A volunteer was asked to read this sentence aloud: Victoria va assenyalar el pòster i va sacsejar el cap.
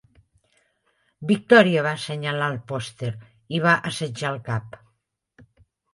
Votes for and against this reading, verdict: 0, 3, rejected